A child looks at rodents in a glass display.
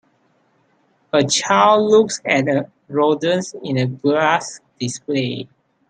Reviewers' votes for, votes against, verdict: 1, 3, rejected